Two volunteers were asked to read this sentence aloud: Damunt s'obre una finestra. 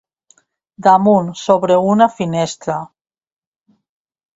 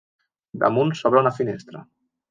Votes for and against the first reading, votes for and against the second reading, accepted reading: 1, 2, 2, 0, second